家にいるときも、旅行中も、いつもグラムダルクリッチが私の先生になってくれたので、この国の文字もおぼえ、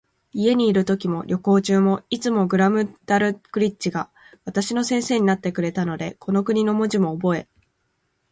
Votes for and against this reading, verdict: 2, 4, rejected